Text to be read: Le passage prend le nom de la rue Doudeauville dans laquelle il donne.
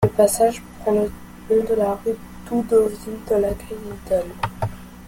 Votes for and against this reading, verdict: 0, 2, rejected